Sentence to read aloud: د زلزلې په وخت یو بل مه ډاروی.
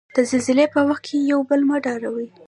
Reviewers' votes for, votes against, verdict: 0, 2, rejected